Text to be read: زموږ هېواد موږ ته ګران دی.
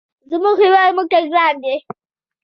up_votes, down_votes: 2, 1